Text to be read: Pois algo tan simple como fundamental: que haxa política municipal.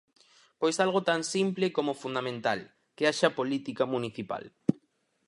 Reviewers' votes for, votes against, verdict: 4, 0, accepted